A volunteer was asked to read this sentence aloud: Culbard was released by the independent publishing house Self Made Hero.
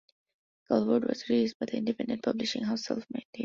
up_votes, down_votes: 0, 2